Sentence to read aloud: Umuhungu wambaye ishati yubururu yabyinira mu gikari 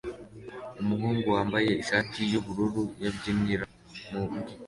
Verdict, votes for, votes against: rejected, 1, 2